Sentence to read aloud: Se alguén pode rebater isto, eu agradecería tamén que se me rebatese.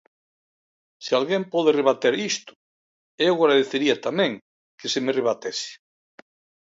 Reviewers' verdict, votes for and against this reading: accepted, 2, 0